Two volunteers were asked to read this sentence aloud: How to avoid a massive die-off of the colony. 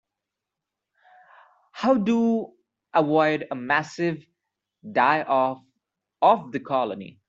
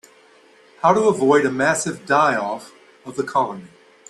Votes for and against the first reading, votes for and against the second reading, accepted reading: 1, 2, 2, 0, second